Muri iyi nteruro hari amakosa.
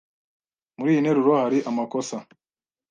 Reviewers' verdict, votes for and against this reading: accepted, 2, 0